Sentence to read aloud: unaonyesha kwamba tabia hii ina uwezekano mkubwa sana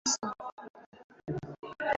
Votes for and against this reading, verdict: 0, 2, rejected